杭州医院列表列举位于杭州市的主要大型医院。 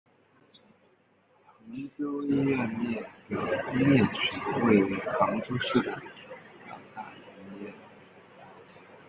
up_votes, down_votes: 0, 2